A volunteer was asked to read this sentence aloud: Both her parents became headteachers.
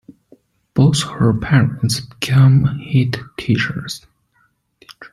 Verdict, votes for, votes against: rejected, 0, 2